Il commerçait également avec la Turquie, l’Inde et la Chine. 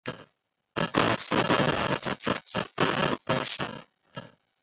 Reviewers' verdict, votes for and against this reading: rejected, 0, 2